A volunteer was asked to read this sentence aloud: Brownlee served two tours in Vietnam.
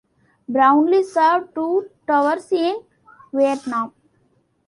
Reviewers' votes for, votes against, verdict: 2, 1, accepted